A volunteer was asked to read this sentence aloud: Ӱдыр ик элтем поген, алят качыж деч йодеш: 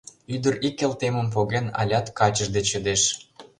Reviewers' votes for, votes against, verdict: 1, 2, rejected